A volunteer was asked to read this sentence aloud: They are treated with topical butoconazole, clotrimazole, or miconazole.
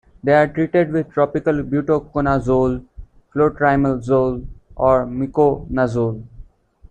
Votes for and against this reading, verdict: 2, 1, accepted